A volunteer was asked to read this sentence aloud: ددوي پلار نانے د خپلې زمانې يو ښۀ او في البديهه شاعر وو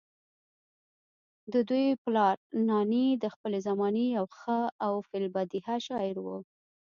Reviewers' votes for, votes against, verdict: 1, 2, rejected